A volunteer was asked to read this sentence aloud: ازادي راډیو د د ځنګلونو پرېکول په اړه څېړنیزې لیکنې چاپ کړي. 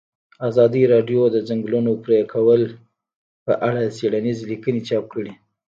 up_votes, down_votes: 0, 2